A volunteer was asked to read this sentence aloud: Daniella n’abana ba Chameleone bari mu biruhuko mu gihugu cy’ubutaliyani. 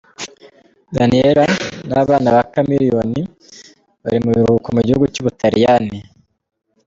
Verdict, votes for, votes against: accepted, 2, 0